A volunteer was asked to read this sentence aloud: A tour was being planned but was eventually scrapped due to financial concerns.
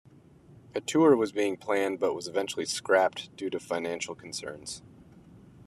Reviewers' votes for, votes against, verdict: 2, 1, accepted